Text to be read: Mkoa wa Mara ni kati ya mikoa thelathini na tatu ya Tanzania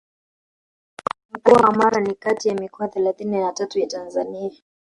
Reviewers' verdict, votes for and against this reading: rejected, 2, 3